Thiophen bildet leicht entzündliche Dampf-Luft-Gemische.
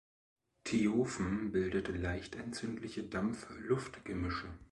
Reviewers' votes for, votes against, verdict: 1, 2, rejected